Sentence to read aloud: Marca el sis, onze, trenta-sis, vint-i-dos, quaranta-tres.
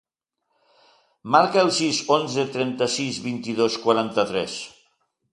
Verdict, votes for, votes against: accepted, 2, 0